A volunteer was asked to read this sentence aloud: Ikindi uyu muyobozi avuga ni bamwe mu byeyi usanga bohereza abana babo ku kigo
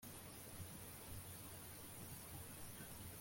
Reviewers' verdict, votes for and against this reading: rejected, 1, 2